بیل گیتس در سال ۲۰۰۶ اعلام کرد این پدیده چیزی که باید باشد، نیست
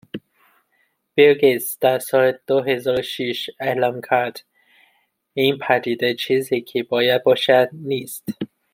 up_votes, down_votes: 0, 2